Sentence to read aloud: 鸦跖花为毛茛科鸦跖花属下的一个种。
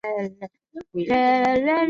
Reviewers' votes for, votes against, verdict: 2, 1, accepted